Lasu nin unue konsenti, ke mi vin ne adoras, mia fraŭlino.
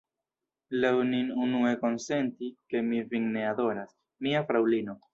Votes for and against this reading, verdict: 1, 2, rejected